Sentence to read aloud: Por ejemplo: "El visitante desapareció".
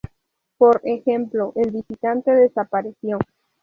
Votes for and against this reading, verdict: 2, 0, accepted